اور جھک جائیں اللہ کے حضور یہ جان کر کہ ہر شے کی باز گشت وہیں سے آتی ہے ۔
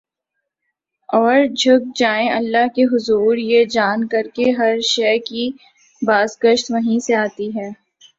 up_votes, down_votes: 2, 1